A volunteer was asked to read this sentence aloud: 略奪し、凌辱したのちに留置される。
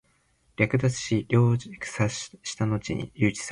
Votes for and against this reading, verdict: 1, 2, rejected